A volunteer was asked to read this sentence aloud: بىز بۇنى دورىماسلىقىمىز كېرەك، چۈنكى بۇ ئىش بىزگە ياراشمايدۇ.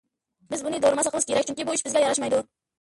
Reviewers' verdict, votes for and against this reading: rejected, 0, 2